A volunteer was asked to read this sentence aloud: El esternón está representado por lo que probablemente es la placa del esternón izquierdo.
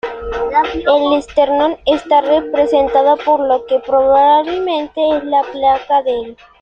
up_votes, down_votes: 0, 2